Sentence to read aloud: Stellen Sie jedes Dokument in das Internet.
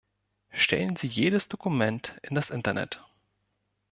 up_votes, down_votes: 2, 0